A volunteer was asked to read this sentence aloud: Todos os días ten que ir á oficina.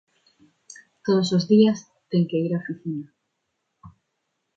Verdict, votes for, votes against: accepted, 2, 0